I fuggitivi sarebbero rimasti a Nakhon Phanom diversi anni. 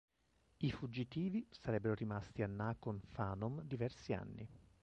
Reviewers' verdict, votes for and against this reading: rejected, 0, 2